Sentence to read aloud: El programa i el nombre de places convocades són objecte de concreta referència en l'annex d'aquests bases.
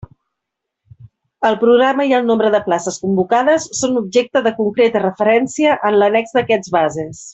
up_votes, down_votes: 3, 0